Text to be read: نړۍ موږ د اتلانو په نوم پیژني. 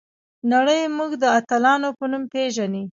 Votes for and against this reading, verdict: 0, 2, rejected